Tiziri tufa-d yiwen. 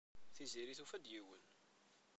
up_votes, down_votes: 1, 2